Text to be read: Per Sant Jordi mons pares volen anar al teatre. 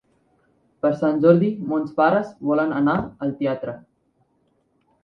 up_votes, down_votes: 2, 1